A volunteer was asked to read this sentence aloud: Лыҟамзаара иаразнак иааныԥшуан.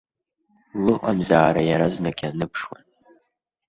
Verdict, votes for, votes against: accepted, 2, 0